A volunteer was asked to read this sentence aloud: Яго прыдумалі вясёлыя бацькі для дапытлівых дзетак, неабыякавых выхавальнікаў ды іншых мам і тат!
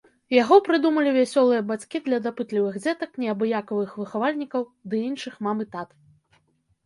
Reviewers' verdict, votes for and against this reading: accepted, 3, 1